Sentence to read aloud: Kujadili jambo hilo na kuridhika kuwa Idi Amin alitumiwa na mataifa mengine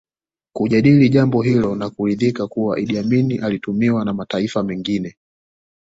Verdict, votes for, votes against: accepted, 2, 1